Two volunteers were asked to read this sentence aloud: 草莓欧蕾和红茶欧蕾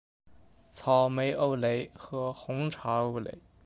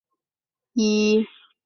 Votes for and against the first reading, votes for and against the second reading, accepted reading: 2, 0, 0, 5, first